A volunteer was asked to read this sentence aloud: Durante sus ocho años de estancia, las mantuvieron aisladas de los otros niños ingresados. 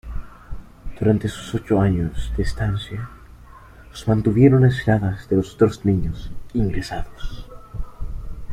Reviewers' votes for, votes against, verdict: 1, 2, rejected